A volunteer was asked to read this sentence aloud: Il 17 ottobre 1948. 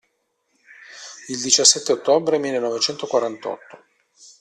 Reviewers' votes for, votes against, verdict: 0, 2, rejected